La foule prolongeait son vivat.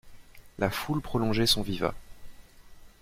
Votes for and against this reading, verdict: 2, 0, accepted